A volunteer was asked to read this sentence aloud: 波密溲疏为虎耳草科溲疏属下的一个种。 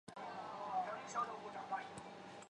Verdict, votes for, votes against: rejected, 0, 4